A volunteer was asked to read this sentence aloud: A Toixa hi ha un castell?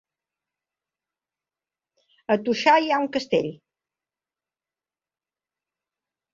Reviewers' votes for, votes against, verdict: 1, 2, rejected